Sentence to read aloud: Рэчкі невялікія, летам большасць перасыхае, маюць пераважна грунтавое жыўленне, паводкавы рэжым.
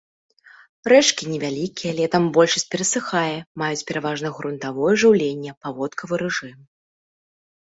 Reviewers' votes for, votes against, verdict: 2, 0, accepted